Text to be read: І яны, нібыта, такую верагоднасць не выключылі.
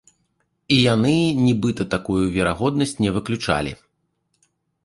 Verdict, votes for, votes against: rejected, 0, 2